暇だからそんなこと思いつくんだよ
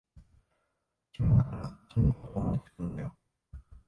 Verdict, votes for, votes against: rejected, 0, 2